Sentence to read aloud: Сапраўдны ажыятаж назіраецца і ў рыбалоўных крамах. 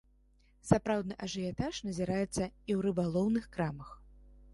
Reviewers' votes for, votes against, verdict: 2, 0, accepted